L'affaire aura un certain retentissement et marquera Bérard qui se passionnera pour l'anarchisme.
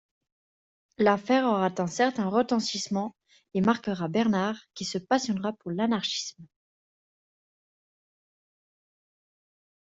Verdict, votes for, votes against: rejected, 1, 2